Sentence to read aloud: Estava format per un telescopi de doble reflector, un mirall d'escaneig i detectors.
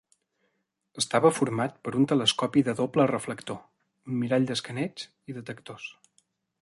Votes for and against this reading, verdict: 2, 0, accepted